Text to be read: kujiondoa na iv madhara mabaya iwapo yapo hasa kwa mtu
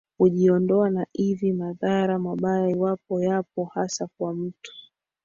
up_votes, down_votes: 3, 0